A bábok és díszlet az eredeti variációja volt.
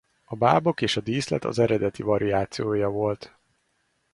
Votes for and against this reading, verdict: 0, 2, rejected